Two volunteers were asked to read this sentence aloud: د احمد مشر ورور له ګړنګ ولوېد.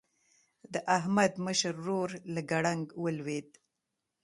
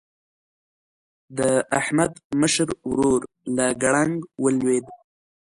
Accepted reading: first